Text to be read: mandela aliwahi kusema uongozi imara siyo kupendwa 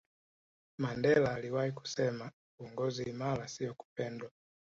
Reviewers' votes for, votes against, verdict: 1, 2, rejected